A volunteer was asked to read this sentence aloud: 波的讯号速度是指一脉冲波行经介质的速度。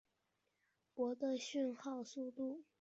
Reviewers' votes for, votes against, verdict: 2, 4, rejected